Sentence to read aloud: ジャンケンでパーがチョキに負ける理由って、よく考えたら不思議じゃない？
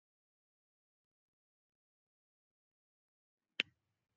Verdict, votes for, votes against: rejected, 0, 2